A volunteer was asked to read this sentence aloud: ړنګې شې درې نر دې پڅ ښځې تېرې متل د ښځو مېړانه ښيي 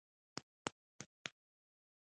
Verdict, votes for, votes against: rejected, 0, 2